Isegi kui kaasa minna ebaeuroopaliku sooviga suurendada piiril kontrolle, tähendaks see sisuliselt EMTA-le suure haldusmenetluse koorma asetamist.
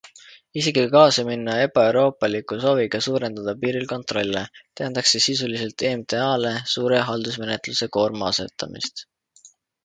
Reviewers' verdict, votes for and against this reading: accepted, 2, 0